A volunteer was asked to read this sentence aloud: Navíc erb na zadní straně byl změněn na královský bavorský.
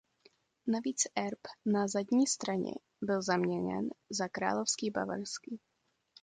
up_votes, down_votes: 0, 2